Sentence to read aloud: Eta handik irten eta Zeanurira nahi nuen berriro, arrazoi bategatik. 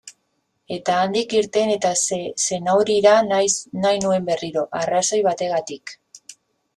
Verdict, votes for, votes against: rejected, 0, 2